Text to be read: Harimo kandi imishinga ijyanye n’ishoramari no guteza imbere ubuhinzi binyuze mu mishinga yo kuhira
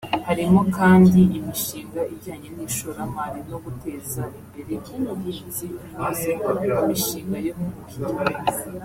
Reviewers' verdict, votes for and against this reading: rejected, 1, 2